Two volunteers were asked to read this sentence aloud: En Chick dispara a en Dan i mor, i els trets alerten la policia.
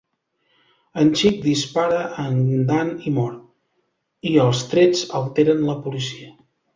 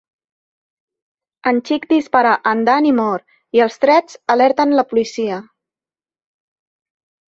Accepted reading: second